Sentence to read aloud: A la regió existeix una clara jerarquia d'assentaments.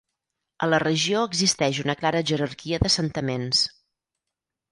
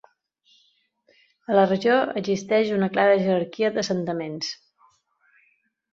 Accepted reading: second